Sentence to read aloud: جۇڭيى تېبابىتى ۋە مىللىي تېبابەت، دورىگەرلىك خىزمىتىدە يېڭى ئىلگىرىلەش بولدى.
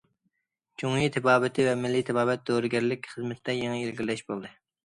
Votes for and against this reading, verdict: 2, 0, accepted